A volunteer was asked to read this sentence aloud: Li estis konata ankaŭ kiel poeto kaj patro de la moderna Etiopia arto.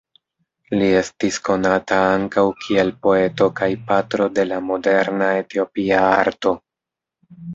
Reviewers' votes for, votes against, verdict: 2, 0, accepted